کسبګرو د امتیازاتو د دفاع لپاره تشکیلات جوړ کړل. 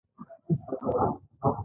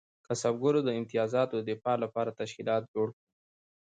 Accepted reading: second